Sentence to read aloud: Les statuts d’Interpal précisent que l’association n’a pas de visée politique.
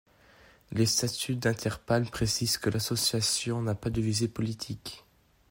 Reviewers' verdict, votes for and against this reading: accepted, 2, 0